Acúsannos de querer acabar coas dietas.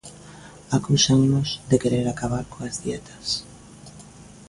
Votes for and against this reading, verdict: 2, 0, accepted